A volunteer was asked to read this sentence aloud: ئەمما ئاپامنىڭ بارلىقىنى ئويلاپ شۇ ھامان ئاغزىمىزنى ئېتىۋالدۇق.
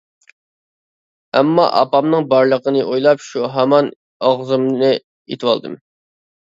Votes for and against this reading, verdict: 1, 2, rejected